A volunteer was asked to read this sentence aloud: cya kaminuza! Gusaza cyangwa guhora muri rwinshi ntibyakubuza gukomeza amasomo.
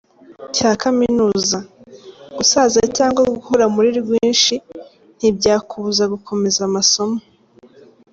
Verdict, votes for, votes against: accepted, 2, 0